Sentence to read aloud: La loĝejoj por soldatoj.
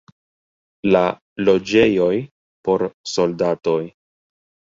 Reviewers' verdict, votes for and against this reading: rejected, 1, 2